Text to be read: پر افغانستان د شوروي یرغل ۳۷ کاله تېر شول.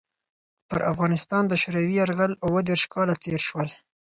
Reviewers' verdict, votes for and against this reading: rejected, 0, 2